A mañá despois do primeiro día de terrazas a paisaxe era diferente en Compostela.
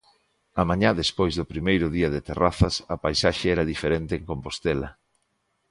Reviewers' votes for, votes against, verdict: 2, 0, accepted